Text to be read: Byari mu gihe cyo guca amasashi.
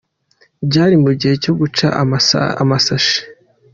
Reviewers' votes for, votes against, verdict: 0, 2, rejected